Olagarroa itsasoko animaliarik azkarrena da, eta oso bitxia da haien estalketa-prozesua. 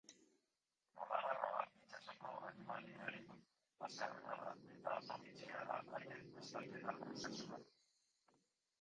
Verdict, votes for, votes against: rejected, 0, 4